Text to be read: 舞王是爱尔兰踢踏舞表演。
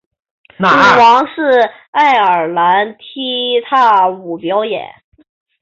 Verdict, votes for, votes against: rejected, 0, 2